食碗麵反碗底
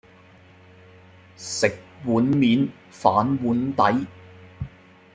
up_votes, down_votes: 2, 0